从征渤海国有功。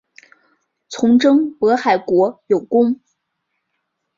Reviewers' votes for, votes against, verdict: 2, 1, accepted